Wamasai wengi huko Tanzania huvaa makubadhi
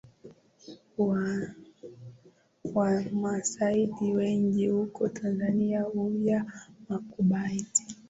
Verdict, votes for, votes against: accepted, 2, 1